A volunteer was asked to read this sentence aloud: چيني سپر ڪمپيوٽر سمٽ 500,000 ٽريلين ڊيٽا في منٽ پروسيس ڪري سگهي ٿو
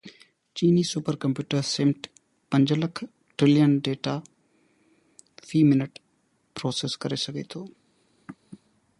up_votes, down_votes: 0, 2